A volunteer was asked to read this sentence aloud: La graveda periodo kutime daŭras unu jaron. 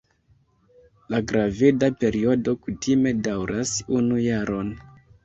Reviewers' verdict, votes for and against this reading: accepted, 3, 0